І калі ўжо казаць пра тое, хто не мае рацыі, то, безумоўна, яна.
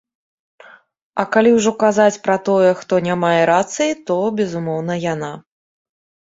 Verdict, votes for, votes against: rejected, 0, 2